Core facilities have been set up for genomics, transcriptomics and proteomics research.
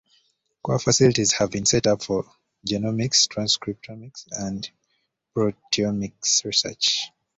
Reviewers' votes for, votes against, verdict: 2, 1, accepted